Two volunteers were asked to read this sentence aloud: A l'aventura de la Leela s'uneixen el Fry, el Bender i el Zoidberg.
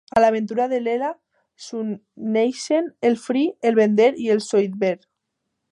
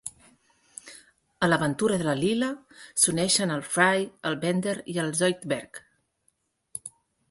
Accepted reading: second